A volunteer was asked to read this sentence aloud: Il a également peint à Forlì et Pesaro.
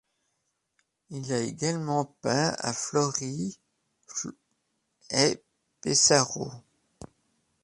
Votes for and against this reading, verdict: 0, 2, rejected